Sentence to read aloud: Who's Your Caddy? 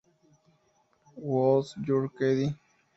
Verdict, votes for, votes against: rejected, 0, 2